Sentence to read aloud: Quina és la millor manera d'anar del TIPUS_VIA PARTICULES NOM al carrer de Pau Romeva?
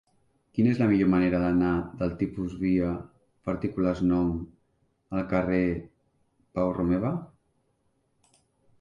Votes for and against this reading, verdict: 1, 2, rejected